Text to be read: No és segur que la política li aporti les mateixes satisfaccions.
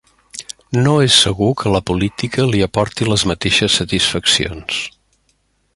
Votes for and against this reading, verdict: 3, 0, accepted